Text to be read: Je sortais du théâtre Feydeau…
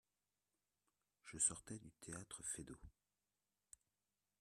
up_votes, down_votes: 0, 2